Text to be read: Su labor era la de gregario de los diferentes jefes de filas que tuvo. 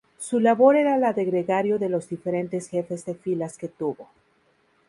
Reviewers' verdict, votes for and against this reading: rejected, 0, 2